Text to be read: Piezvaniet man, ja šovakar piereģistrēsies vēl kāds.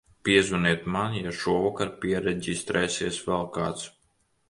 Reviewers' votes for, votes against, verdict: 2, 0, accepted